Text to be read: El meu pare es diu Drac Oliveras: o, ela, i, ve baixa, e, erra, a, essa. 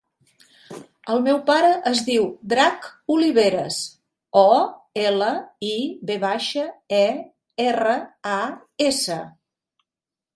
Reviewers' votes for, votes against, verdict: 3, 0, accepted